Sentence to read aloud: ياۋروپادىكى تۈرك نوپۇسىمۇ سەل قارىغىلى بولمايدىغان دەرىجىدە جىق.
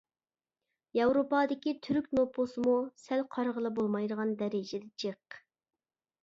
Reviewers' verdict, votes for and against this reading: accepted, 2, 0